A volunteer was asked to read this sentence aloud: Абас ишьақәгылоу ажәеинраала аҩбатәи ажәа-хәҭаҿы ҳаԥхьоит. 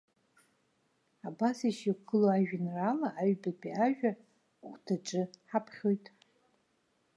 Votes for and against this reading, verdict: 2, 0, accepted